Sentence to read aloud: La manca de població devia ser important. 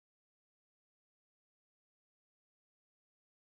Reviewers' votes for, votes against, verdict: 0, 2, rejected